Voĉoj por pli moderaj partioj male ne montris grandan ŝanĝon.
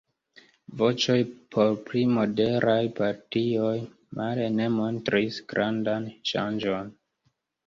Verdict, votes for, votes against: accepted, 2, 1